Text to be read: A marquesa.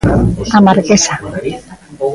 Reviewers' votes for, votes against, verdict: 2, 1, accepted